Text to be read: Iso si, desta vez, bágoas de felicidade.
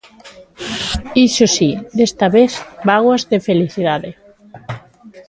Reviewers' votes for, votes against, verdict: 2, 1, accepted